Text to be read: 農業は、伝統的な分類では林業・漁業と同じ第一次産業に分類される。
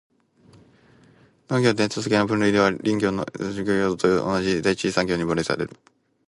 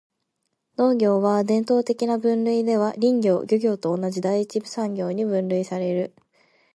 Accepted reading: second